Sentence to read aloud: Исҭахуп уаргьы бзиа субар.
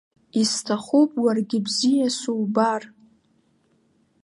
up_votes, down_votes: 2, 0